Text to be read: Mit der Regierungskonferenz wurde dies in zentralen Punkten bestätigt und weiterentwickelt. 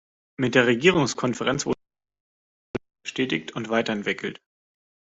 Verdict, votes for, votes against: rejected, 0, 2